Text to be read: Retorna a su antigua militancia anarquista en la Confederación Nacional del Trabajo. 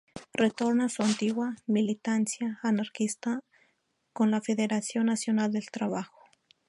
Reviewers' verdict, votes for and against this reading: rejected, 0, 2